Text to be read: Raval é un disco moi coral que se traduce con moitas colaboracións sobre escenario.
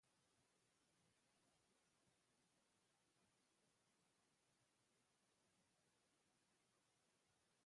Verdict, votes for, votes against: rejected, 0, 2